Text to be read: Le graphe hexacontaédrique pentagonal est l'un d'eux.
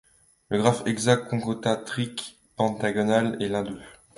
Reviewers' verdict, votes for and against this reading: accepted, 2, 1